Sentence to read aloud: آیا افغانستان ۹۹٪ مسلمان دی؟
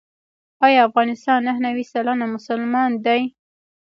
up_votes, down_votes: 0, 2